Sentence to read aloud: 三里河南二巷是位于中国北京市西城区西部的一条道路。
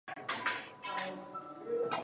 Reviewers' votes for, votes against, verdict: 0, 2, rejected